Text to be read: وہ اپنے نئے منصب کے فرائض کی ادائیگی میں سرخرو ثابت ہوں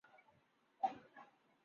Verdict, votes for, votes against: rejected, 2, 6